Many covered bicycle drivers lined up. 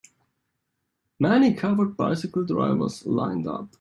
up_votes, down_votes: 1, 2